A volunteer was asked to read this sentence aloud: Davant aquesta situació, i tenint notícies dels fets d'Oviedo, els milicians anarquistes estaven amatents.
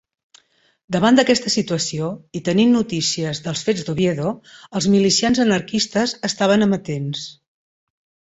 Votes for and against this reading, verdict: 0, 2, rejected